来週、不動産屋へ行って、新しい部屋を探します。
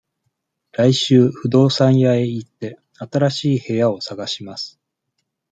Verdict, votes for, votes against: accepted, 2, 0